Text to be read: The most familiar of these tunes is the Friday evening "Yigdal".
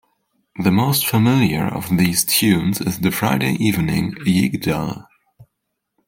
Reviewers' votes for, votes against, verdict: 2, 0, accepted